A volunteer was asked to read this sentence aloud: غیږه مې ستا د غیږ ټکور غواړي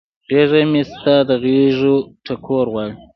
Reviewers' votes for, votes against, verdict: 0, 2, rejected